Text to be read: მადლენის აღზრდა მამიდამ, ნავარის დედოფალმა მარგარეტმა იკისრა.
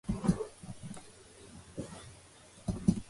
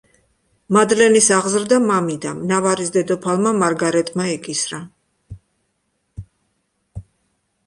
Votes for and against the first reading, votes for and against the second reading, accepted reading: 0, 2, 2, 0, second